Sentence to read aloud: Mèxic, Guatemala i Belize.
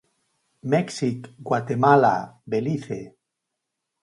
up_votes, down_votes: 0, 4